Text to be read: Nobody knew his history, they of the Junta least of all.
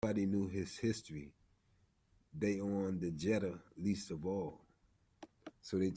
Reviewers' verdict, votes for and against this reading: rejected, 0, 2